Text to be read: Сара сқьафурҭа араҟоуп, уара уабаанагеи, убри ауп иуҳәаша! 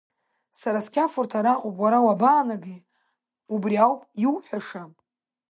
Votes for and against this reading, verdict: 2, 1, accepted